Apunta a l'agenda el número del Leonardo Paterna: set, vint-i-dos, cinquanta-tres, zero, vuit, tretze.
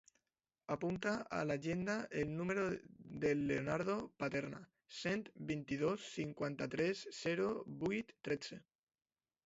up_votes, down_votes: 2, 0